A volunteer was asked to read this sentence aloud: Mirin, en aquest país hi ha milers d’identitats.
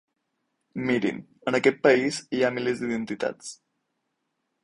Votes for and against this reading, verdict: 8, 0, accepted